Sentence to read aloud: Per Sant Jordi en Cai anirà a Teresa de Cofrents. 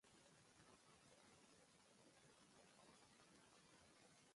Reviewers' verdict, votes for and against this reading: rejected, 0, 2